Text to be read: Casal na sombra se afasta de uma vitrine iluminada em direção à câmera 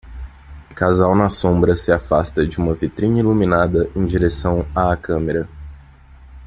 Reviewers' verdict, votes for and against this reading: accepted, 2, 0